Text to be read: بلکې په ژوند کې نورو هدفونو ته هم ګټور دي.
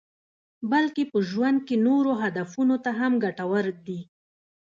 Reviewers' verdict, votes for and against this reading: accepted, 2, 1